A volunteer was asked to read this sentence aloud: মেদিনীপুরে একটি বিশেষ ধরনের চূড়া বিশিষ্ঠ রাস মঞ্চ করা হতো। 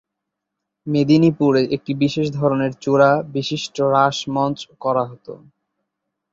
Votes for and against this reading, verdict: 2, 0, accepted